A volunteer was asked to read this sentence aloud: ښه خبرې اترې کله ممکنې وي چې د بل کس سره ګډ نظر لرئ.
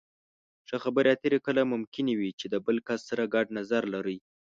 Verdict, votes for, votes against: accepted, 10, 0